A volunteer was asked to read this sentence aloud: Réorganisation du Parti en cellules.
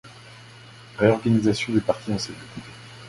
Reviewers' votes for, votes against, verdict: 2, 0, accepted